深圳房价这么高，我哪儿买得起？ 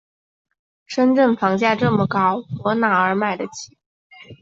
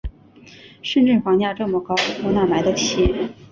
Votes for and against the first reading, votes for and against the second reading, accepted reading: 5, 0, 1, 2, first